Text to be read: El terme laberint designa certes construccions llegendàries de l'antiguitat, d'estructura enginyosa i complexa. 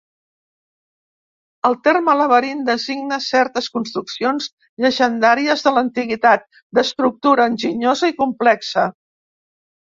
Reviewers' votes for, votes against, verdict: 3, 0, accepted